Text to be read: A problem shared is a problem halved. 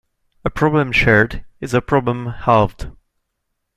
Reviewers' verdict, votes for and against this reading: accepted, 2, 0